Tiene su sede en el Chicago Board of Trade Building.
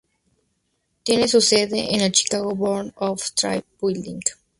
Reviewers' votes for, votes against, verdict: 0, 2, rejected